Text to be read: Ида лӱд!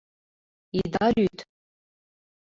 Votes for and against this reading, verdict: 2, 0, accepted